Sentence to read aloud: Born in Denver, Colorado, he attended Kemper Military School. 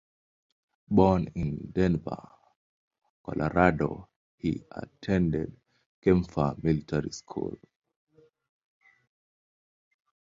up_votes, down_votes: 0, 2